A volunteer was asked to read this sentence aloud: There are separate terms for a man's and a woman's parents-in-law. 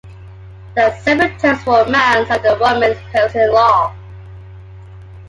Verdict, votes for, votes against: accepted, 2, 1